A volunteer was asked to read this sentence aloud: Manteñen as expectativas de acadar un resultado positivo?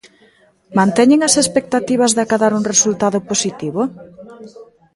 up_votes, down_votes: 1, 2